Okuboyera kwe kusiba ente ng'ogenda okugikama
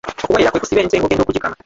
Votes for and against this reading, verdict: 0, 2, rejected